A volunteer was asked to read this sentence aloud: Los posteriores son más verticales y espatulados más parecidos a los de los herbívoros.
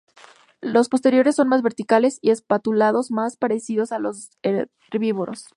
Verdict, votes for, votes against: accepted, 2, 0